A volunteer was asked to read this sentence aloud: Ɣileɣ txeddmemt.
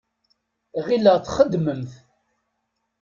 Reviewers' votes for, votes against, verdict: 2, 0, accepted